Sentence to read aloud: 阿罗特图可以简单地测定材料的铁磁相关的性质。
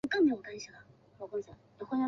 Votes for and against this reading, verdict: 0, 2, rejected